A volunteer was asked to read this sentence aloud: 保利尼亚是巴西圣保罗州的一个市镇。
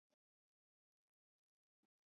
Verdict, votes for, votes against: rejected, 1, 2